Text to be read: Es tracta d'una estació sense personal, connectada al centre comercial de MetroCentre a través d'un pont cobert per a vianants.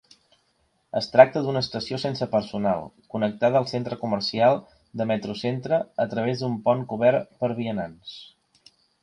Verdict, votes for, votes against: accepted, 2, 1